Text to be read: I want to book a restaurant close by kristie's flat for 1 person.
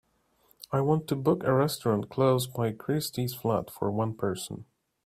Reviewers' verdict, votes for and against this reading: rejected, 0, 2